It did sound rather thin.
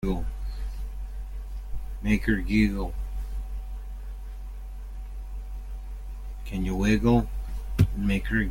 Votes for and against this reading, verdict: 0, 2, rejected